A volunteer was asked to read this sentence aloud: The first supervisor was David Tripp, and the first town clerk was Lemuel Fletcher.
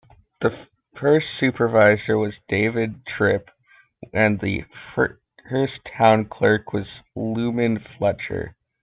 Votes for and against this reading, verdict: 1, 2, rejected